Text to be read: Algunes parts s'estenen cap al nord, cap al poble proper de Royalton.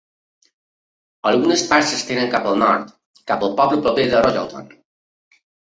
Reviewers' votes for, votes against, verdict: 2, 1, accepted